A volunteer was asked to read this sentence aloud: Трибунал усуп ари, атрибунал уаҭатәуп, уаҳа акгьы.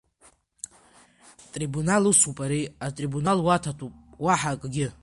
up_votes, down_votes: 2, 1